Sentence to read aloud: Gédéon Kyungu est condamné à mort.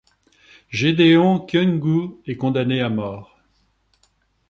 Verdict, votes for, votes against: accepted, 3, 0